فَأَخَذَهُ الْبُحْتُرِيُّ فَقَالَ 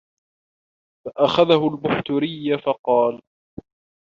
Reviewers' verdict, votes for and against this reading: rejected, 1, 2